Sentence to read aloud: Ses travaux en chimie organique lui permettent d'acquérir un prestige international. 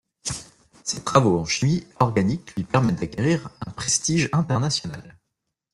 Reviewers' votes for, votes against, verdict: 2, 0, accepted